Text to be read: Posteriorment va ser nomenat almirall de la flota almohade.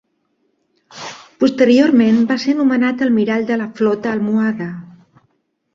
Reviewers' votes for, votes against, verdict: 3, 0, accepted